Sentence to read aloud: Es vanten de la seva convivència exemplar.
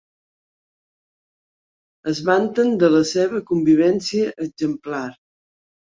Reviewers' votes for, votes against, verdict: 3, 0, accepted